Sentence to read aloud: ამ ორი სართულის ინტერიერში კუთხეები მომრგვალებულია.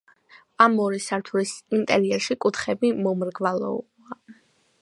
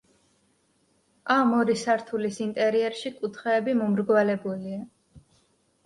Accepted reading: second